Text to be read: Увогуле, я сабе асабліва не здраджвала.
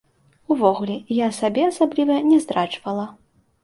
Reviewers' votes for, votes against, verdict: 2, 0, accepted